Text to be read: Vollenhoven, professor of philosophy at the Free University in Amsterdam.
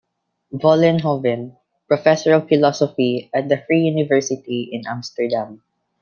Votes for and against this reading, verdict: 1, 2, rejected